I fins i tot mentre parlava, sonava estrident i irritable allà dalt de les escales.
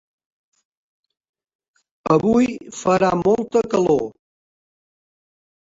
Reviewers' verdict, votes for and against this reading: rejected, 0, 2